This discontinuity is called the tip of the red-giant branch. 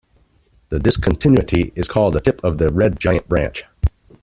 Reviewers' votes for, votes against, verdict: 2, 0, accepted